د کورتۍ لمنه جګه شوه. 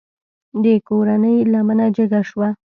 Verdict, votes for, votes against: rejected, 0, 2